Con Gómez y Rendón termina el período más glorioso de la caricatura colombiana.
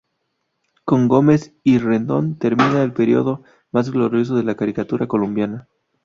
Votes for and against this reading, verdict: 2, 2, rejected